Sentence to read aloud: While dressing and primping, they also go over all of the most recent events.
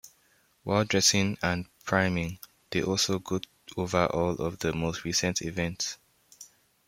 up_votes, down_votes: 1, 2